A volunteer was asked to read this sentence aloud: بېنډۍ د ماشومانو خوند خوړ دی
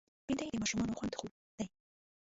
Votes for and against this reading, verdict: 0, 2, rejected